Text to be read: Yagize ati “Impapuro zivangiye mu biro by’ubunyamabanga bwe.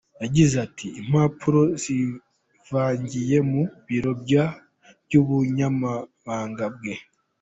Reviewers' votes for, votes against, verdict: 0, 2, rejected